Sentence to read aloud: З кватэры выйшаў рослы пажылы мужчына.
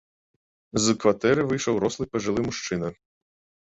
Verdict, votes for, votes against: accepted, 2, 0